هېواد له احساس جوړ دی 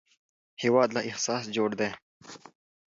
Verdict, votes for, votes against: accepted, 2, 0